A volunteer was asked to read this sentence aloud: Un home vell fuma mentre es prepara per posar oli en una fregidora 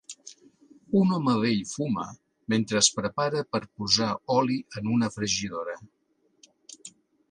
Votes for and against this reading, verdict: 2, 0, accepted